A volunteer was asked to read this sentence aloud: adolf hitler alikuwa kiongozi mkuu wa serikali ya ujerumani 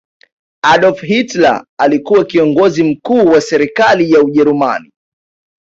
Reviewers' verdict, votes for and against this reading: accepted, 2, 1